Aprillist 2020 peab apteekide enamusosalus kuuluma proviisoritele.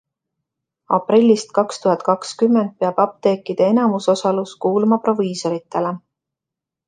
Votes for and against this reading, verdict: 0, 2, rejected